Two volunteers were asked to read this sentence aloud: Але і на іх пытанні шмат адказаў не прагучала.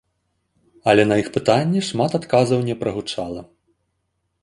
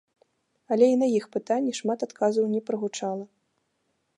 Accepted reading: second